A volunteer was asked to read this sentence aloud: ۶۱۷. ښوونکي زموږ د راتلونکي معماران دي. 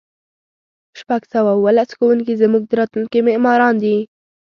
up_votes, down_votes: 0, 2